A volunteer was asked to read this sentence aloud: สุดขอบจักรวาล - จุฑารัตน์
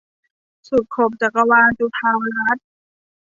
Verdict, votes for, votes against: accepted, 2, 0